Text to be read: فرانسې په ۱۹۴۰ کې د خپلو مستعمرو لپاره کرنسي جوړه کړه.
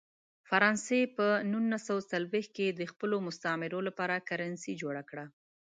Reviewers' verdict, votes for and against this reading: rejected, 0, 2